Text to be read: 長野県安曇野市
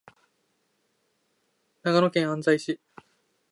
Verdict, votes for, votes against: rejected, 0, 2